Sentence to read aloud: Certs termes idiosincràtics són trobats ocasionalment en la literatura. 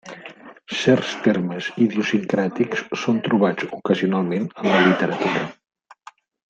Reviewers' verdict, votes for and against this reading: rejected, 0, 2